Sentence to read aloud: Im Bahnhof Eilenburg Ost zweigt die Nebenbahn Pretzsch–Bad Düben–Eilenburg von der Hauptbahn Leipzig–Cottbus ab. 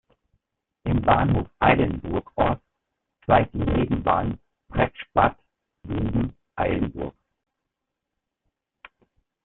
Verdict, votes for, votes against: rejected, 0, 2